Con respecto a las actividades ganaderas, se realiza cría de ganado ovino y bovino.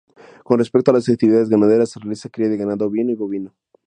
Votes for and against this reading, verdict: 0, 4, rejected